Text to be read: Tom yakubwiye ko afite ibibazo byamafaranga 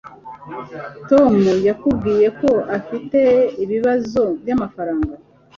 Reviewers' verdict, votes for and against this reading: accepted, 2, 0